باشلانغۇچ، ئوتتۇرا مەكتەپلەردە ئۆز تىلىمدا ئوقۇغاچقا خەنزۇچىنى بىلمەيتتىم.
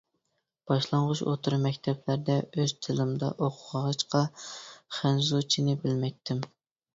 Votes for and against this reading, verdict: 2, 0, accepted